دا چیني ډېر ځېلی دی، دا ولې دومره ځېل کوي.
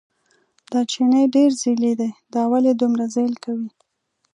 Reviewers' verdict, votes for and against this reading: accepted, 2, 0